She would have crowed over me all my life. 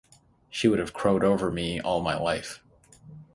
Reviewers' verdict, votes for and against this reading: accepted, 3, 0